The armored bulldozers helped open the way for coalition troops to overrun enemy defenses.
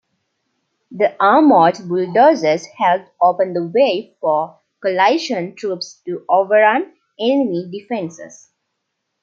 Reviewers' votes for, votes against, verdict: 2, 0, accepted